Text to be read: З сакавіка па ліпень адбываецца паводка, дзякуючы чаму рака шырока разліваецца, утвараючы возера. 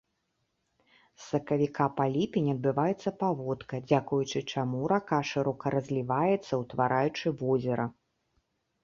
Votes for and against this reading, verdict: 2, 0, accepted